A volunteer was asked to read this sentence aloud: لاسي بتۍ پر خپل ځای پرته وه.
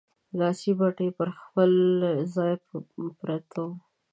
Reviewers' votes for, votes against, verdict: 1, 2, rejected